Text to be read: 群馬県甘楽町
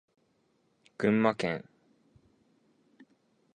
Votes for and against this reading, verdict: 0, 2, rejected